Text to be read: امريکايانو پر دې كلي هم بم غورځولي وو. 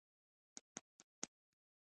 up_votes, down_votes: 1, 2